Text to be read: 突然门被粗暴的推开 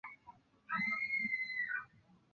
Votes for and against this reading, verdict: 1, 3, rejected